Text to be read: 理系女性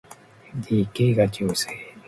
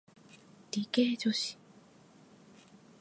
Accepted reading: second